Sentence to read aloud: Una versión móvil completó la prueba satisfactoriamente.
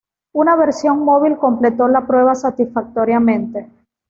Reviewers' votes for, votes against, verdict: 2, 0, accepted